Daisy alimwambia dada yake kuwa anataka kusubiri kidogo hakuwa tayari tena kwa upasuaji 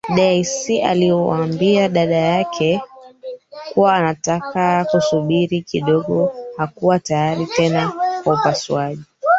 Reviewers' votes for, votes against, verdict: 0, 3, rejected